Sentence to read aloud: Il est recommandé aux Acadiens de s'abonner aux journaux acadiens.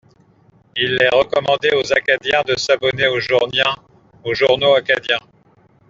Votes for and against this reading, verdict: 0, 2, rejected